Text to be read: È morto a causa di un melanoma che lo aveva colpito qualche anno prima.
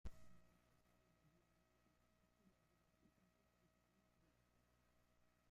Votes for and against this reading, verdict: 0, 2, rejected